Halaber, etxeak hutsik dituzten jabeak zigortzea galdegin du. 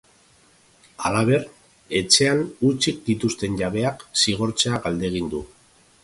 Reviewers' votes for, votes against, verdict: 0, 2, rejected